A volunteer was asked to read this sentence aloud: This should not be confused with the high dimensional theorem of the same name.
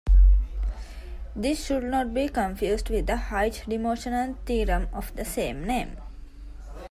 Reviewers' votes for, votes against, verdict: 2, 1, accepted